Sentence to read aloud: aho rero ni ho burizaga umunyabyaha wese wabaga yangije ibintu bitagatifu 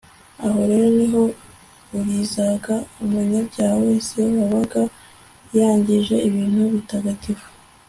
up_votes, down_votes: 0, 2